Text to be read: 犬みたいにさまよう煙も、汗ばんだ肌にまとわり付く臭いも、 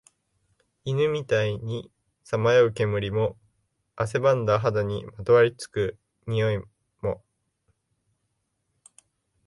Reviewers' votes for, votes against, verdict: 1, 2, rejected